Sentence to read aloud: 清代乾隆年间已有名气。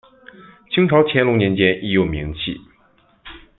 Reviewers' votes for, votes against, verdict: 0, 2, rejected